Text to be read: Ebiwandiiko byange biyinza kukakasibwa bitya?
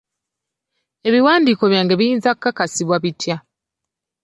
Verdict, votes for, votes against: rejected, 1, 2